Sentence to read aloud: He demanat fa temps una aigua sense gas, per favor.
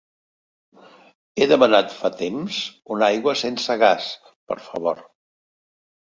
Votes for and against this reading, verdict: 3, 0, accepted